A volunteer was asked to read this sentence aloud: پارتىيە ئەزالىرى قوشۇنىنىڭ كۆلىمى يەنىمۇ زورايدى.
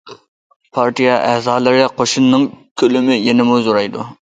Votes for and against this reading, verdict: 0, 2, rejected